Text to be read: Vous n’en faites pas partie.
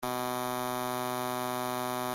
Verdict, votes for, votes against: rejected, 0, 2